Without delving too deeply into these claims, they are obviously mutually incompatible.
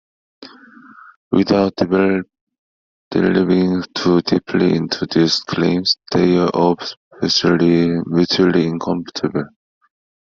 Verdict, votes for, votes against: accepted, 2, 1